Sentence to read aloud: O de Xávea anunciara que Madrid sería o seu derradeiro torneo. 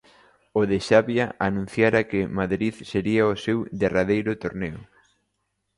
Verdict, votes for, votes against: accepted, 2, 0